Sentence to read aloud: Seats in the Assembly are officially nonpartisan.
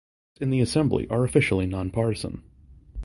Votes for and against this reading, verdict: 0, 2, rejected